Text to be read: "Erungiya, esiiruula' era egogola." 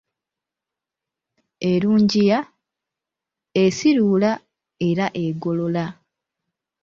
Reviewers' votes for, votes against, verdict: 2, 1, accepted